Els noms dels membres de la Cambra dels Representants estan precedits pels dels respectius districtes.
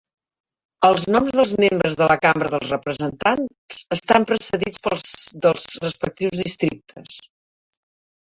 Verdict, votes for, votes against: rejected, 0, 3